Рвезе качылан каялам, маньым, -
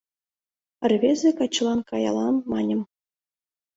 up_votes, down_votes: 2, 0